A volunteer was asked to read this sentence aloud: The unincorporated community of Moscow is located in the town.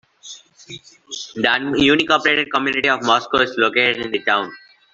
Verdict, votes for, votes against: rejected, 0, 2